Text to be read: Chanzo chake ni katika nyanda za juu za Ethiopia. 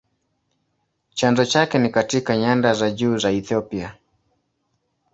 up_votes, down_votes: 2, 0